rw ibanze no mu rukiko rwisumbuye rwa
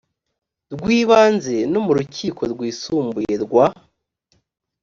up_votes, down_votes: 3, 0